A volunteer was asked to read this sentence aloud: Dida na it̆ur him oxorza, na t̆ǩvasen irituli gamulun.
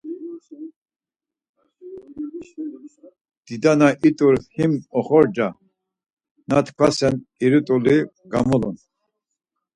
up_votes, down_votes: 4, 0